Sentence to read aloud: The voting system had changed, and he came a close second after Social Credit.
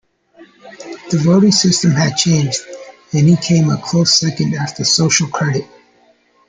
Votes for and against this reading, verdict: 2, 1, accepted